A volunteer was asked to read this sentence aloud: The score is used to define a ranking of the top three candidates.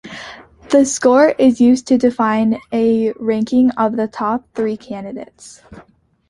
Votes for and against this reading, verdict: 2, 0, accepted